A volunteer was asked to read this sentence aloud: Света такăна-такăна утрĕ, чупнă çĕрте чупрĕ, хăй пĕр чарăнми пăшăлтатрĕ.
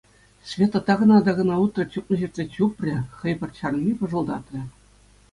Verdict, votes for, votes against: accepted, 2, 0